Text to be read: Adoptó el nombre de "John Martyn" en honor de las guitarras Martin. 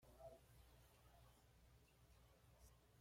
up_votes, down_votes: 0, 2